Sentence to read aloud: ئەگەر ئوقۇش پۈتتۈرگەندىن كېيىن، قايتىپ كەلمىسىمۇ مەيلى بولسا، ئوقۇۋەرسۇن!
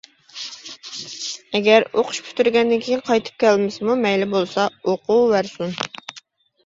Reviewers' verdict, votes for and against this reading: accepted, 2, 0